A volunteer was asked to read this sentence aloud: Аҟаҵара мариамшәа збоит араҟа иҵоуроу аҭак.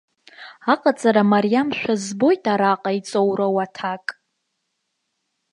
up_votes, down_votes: 2, 0